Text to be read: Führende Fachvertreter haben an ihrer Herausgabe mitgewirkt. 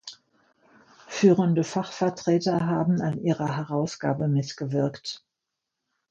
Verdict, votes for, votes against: accepted, 2, 0